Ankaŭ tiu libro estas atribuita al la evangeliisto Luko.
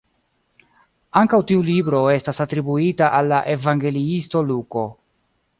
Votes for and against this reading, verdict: 3, 1, accepted